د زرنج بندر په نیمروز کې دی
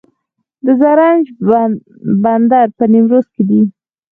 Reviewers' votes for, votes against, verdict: 0, 4, rejected